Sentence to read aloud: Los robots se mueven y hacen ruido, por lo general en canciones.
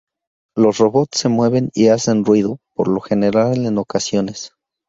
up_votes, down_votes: 0, 2